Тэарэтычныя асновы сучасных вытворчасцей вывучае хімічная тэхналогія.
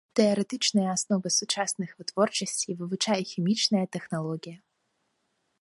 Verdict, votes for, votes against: rejected, 1, 2